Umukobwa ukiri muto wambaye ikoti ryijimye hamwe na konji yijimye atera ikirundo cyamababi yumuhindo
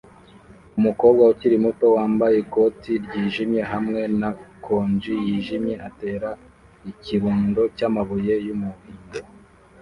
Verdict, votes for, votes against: rejected, 1, 2